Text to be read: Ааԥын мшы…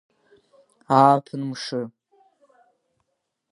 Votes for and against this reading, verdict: 3, 0, accepted